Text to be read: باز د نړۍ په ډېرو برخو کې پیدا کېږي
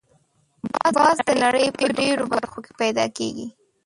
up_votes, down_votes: 0, 2